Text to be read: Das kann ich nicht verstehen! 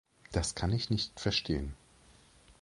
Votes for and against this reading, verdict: 2, 0, accepted